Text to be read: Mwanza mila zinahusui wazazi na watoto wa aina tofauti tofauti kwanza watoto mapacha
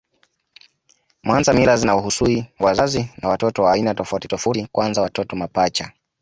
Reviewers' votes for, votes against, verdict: 2, 0, accepted